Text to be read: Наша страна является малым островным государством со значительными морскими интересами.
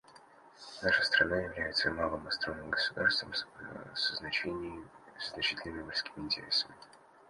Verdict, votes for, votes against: rejected, 0, 2